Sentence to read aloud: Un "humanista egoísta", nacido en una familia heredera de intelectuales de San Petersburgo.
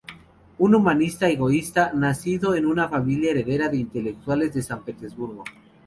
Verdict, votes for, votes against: accepted, 2, 0